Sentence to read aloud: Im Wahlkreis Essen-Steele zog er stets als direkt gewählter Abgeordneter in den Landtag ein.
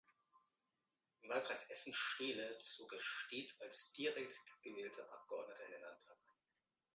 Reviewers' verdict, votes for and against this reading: rejected, 0, 2